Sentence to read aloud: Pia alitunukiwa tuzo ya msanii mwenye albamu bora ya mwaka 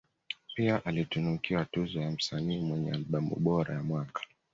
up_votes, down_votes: 2, 0